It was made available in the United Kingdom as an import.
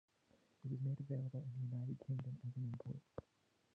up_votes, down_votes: 1, 2